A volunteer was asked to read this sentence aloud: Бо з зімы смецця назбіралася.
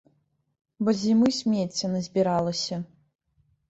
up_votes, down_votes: 2, 0